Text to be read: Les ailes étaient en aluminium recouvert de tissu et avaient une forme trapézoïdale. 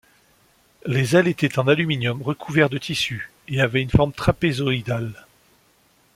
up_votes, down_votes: 2, 0